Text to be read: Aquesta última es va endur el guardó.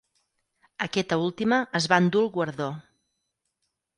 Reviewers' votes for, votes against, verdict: 2, 4, rejected